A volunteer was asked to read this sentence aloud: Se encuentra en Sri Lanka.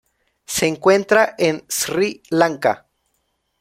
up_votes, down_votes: 2, 0